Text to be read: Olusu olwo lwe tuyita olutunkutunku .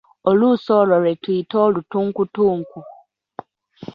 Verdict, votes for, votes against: rejected, 1, 2